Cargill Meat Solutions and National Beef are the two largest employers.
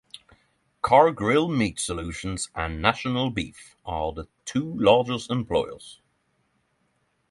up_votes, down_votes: 3, 3